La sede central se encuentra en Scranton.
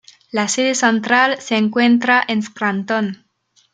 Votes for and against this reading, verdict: 2, 3, rejected